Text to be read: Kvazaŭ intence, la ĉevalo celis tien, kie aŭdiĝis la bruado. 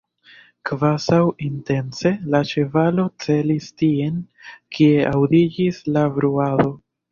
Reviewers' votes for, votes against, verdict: 0, 2, rejected